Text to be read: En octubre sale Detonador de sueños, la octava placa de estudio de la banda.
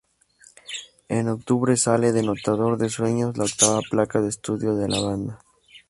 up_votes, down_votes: 0, 2